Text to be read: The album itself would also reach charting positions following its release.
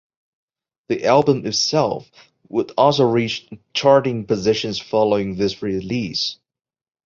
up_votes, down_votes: 2, 1